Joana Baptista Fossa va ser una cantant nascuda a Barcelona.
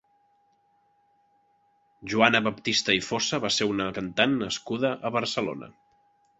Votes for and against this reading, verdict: 1, 3, rejected